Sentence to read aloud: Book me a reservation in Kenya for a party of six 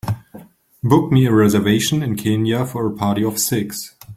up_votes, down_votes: 3, 0